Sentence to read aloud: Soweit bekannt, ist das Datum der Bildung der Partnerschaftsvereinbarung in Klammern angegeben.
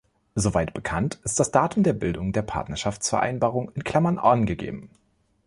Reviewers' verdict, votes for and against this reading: rejected, 1, 2